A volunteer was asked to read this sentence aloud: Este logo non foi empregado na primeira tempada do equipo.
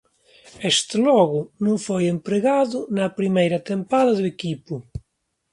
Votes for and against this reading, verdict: 2, 0, accepted